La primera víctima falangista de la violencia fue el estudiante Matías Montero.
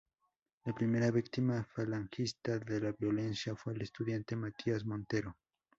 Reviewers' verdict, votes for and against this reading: rejected, 0, 2